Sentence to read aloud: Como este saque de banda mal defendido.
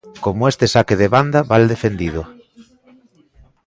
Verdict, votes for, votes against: accepted, 2, 0